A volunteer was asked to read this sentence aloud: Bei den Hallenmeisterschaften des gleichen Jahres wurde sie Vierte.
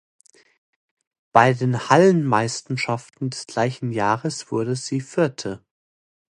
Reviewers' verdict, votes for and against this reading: rejected, 0, 2